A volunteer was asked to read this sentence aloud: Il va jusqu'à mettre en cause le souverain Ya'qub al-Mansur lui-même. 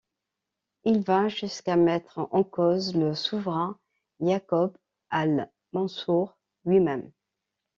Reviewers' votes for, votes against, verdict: 2, 0, accepted